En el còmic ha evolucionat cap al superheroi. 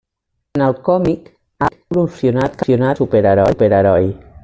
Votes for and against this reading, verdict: 0, 2, rejected